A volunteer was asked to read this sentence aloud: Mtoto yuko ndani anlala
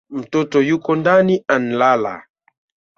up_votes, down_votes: 0, 2